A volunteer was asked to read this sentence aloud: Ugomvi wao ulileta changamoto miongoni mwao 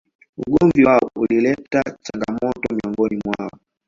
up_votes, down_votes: 2, 1